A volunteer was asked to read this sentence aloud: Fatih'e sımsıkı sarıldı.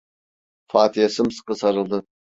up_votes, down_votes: 2, 0